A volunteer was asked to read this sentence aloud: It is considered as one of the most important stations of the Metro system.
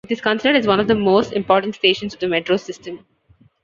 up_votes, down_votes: 2, 0